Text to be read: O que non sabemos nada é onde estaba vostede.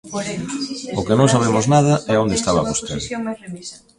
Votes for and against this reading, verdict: 0, 2, rejected